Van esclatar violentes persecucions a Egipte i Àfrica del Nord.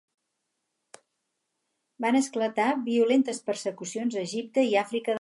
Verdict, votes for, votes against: rejected, 2, 4